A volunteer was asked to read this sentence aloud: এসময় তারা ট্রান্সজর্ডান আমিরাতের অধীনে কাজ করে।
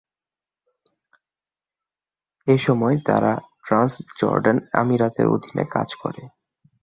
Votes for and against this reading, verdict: 2, 0, accepted